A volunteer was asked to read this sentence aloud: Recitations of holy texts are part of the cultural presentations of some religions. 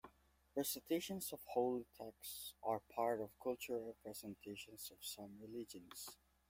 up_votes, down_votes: 0, 2